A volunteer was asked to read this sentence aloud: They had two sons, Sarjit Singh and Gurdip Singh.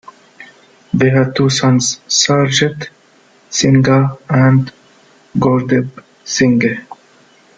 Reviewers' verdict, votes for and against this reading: accepted, 2, 1